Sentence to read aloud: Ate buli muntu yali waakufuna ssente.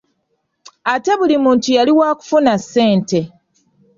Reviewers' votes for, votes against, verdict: 2, 0, accepted